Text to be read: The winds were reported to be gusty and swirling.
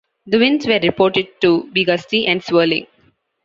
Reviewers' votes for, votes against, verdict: 2, 0, accepted